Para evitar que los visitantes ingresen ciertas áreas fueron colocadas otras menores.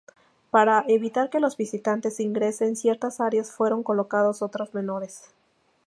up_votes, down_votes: 0, 2